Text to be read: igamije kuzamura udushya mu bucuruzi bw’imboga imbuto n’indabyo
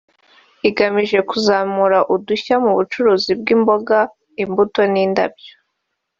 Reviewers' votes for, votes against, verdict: 1, 2, rejected